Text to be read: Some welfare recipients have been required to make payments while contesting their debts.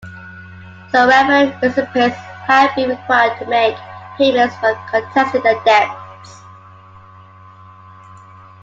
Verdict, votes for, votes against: rejected, 0, 2